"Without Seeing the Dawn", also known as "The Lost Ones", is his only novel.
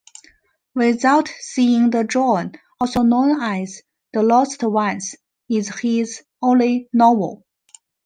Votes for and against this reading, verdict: 2, 0, accepted